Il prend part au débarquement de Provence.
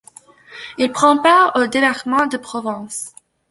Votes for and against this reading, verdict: 1, 2, rejected